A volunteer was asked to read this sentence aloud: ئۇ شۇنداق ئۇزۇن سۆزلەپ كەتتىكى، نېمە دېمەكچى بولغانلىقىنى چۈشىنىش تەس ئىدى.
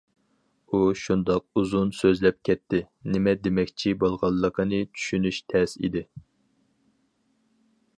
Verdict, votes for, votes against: rejected, 0, 4